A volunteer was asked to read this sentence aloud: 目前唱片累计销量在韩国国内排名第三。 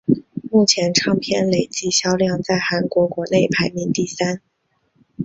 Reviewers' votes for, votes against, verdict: 2, 1, accepted